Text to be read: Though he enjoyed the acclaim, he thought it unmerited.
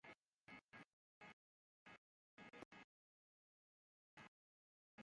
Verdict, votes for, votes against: rejected, 0, 2